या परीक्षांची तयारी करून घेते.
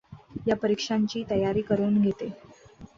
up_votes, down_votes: 2, 0